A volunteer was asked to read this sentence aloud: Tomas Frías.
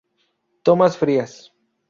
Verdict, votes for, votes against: accepted, 4, 0